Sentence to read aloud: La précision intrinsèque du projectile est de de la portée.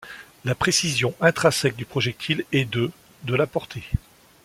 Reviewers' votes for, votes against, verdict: 2, 0, accepted